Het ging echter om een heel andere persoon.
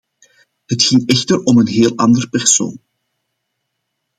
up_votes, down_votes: 2, 0